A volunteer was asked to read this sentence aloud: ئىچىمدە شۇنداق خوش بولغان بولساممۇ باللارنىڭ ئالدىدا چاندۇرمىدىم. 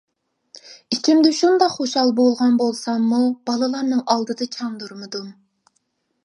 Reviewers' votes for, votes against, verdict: 0, 2, rejected